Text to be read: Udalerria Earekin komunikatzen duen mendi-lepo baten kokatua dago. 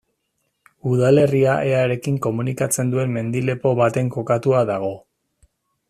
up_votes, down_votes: 2, 0